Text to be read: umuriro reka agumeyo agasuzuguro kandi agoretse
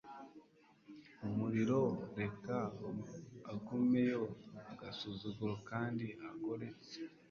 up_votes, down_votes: 2, 0